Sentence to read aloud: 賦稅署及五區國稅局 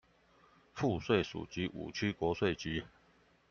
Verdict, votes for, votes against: rejected, 0, 2